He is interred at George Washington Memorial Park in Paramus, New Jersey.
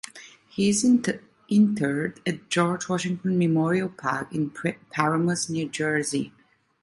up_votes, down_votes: 0, 2